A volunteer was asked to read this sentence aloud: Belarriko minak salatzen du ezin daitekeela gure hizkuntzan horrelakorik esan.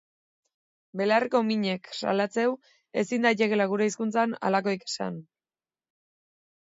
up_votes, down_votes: 2, 0